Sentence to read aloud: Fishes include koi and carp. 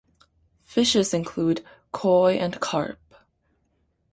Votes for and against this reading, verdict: 2, 0, accepted